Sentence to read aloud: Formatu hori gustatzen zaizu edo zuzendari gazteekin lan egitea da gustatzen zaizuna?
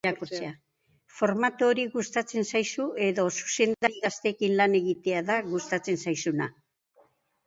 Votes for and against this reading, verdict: 0, 2, rejected